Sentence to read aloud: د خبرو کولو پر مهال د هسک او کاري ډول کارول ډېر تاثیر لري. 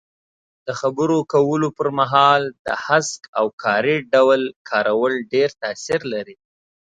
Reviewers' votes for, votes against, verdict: 2, 0, accepted